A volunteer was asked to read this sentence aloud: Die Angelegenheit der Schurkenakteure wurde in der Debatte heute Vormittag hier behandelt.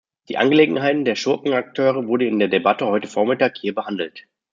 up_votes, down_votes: 1, 2